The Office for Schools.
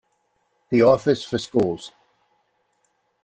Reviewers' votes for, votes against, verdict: 2, 0, accepted